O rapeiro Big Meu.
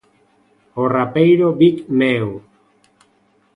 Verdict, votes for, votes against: accepted, 2, 0